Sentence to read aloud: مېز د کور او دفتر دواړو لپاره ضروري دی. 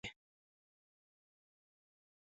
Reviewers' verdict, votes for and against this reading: rejected, 0, 2